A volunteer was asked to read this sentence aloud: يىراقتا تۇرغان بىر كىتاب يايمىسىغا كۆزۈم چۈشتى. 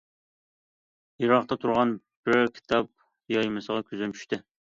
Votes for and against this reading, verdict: 2, 0, accepted